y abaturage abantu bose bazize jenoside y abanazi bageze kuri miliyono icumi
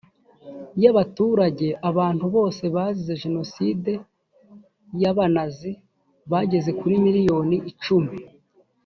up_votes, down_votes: 1, 2